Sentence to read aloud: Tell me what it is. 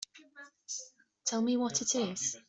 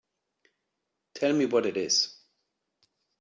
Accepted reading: second